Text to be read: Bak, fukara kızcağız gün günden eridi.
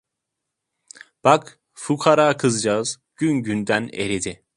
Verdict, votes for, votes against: accepted, 2, 0